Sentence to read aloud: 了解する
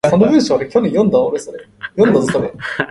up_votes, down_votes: 0, 2